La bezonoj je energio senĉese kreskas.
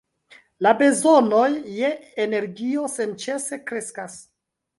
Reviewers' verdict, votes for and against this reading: rejected, 1, 2